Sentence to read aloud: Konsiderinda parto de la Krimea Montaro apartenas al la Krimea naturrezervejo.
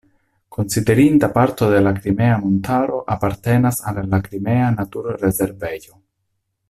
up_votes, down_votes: 2, 1